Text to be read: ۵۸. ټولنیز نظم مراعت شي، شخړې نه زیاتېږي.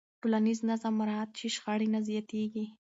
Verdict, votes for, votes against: rejected, 0, 2